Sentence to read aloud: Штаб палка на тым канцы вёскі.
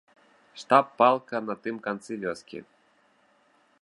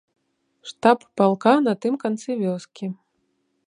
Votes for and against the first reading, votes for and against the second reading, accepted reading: 0, 2, 2, 0, second